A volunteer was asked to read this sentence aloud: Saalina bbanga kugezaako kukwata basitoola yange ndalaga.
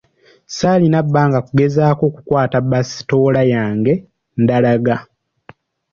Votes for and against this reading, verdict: 2, 0, accepted